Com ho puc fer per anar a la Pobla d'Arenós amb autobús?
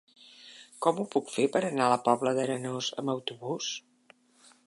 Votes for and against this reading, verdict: 3, 1, accepted